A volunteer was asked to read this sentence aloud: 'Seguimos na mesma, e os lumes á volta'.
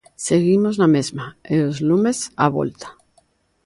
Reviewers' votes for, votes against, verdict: 2, 0, accepted